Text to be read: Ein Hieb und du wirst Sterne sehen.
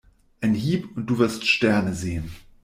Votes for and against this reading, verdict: 2, 0, accepted